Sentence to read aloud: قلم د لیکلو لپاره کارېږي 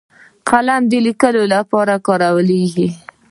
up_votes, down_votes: 2, 1